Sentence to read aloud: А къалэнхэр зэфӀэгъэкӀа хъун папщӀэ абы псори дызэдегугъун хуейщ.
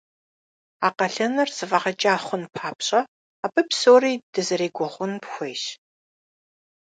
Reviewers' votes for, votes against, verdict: 0, 2, rejected